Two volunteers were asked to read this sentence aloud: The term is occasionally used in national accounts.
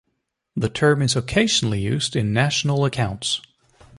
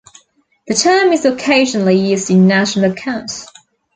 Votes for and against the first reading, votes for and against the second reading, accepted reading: 2, 0, 1, 2, first